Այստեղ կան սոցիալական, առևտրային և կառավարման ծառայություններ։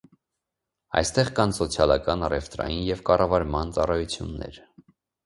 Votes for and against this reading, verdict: 2, 0, accepted